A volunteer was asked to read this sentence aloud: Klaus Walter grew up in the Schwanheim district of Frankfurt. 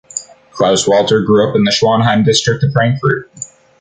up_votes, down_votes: 2, 0